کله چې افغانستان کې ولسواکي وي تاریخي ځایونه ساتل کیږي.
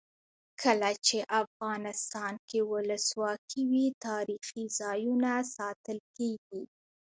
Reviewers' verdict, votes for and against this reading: rejected, 1, 2